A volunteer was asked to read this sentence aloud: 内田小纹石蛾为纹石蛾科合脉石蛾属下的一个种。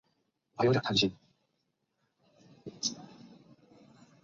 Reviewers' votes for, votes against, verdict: 0, 3, rejected